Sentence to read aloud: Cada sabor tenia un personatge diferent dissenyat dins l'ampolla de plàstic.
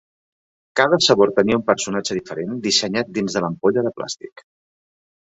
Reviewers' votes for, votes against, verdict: 2, 3, rejected